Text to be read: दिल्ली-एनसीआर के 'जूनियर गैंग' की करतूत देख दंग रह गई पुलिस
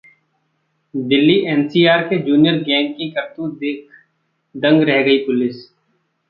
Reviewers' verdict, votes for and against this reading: rejected, 1, 2